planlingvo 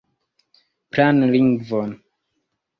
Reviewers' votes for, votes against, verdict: 1, 2, rejected